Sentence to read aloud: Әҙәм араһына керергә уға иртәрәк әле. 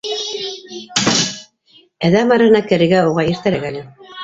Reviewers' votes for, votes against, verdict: 1, 3, rejected